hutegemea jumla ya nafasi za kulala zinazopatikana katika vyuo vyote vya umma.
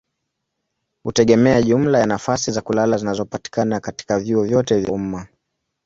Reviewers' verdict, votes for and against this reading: accepted, 5, 0